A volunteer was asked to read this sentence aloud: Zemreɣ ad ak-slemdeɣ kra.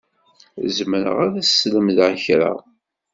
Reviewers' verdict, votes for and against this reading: accepted, 2, 0